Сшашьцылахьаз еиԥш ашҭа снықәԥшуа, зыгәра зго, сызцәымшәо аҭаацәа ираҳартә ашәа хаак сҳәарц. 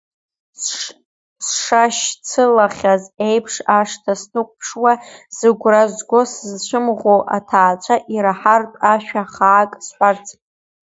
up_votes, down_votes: 1, 2